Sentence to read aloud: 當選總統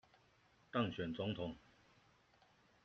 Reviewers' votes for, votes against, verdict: 2, 0, accepted